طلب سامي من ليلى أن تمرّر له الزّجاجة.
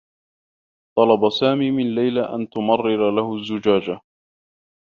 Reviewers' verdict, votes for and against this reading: rejected, 0, 2